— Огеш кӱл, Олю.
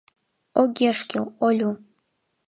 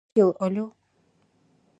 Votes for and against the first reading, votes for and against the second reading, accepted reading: 2, 0, 0, 2, first